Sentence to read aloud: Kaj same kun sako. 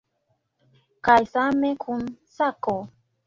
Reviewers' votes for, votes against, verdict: 2, 0, accepted